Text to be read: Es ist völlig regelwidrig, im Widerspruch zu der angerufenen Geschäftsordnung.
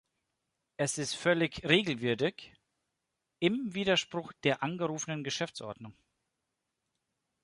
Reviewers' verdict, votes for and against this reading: rejected, 0, 2